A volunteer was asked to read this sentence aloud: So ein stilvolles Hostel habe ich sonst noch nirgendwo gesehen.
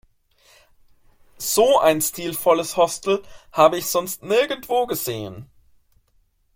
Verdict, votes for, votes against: rejected, 0, 2